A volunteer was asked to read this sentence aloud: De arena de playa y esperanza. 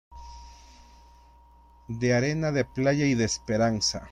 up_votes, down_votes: 0, 2